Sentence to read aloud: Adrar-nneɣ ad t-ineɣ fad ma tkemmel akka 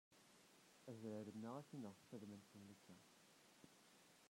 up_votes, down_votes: 0, 2